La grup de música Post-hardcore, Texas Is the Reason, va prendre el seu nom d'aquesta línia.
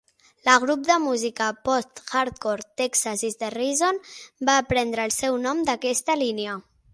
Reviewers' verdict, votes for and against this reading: accepted, 6, 3